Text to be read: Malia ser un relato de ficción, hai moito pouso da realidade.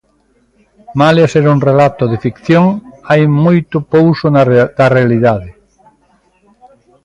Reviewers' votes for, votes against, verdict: 0, 2, rejected